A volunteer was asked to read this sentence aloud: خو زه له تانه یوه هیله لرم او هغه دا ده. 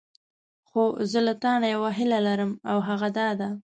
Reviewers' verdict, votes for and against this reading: accepted, 2, 0